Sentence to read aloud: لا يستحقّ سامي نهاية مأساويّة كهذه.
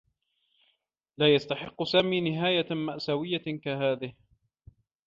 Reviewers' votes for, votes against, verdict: 2, 0, accepted